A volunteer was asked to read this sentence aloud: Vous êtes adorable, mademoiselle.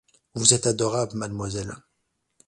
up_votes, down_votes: 2, 0